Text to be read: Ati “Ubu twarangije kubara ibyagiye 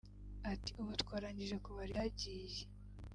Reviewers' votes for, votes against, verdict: 0, 2, rejected